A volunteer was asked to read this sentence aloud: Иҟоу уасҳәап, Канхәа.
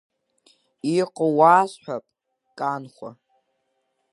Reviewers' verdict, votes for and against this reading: accepted, 2, 1